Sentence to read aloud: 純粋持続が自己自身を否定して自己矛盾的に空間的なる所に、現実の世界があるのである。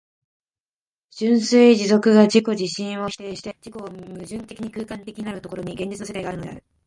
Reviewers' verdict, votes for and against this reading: rejected, 0, 2